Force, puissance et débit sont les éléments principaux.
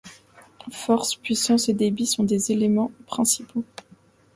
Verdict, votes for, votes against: rejected, 0, 2